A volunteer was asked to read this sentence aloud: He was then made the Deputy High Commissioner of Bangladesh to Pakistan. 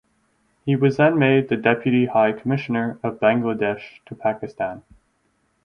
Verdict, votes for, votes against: accepted, 4, 0